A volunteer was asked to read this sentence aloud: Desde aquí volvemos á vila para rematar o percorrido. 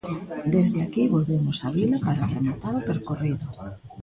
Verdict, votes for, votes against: rejected, 0, 2